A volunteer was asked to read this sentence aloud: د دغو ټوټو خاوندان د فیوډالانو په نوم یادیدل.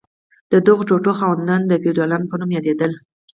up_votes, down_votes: 4, 0